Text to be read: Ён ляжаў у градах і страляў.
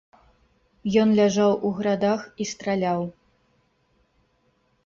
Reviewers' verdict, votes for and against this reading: rejected, 1, 2